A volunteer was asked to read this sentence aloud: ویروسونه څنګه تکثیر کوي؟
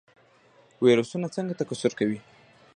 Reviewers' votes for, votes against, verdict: 1, 2, rejected